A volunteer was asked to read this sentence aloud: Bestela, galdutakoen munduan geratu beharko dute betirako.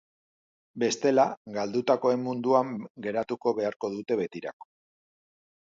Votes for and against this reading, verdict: 0, 2, rejected